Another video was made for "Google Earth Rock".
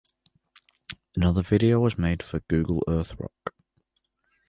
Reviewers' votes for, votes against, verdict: 2, 1, accepted